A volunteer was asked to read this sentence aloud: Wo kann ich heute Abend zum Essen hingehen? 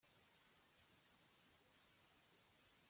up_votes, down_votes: 0, 3